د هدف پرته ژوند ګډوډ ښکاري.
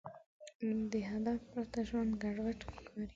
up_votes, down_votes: 2, 0